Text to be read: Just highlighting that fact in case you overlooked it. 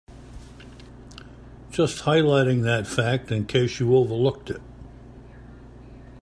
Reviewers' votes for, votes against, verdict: 2, 0, accepted